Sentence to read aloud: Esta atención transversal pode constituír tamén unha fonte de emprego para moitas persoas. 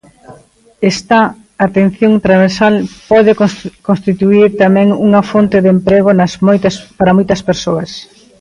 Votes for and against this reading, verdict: 0, 3, rejected